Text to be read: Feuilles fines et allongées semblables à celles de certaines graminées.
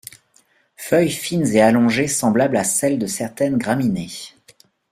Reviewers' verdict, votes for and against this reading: accepted, 2, 0